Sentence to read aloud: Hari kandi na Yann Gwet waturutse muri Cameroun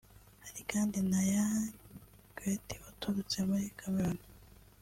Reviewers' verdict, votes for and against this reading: rejected, 1, 2